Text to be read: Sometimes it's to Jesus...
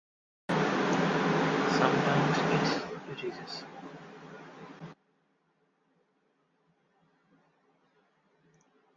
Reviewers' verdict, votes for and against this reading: rejected, 0, 2